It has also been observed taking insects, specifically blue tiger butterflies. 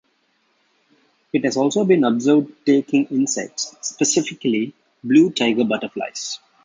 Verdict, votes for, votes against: accepted, 2, 0